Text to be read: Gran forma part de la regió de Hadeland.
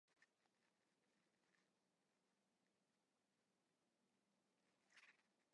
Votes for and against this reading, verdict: 1, 2, rejected